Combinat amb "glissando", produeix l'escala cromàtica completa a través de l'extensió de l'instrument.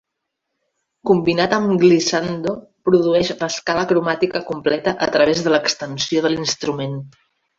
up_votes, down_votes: 0, 2